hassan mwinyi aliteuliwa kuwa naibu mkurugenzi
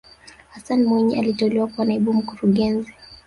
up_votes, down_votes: 3, 0